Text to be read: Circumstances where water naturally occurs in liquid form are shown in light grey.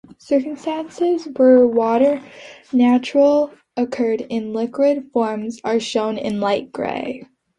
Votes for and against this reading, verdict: 0, 3, rejected